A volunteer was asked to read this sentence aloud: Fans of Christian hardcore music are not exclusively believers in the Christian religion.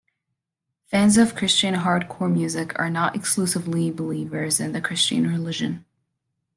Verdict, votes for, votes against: accepted, 2, 0